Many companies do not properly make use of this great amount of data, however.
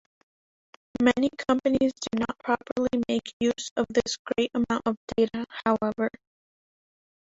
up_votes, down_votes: 3, 0